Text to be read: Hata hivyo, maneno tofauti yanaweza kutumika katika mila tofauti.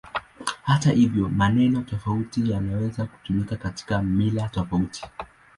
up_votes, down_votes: 2, 0